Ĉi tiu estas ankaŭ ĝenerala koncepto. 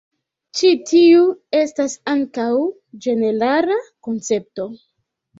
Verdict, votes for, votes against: rejected, 0, 2